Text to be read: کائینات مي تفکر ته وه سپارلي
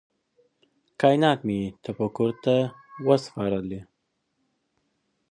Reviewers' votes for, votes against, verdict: 2, 0, accepted